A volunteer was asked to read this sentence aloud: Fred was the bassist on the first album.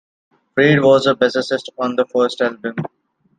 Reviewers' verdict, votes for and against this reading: rejected, 0, 2